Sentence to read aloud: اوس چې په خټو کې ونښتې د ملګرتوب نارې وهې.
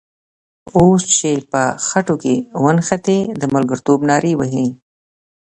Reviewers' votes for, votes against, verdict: 2, 0, accepted